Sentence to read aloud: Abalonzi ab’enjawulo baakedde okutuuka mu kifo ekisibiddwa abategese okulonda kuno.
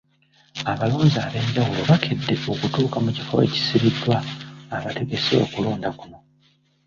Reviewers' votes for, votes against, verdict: 2, 0, accepted